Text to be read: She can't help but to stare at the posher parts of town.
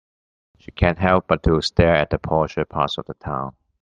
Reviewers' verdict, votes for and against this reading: rejected, 1, 2